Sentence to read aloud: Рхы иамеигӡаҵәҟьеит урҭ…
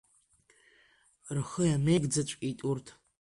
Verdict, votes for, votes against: accepted, 2, 0